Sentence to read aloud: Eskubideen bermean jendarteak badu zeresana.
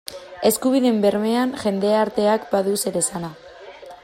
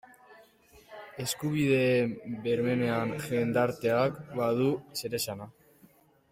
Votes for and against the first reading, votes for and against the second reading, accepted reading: 2, 0, 0, 2, first